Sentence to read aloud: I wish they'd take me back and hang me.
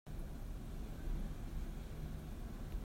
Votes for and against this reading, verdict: 0, 3, rejected